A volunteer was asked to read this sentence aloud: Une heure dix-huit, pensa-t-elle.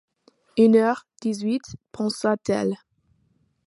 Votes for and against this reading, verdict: 2, 0, accepted